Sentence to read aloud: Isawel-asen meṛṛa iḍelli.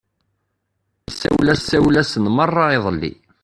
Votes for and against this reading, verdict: 0, 2, rejected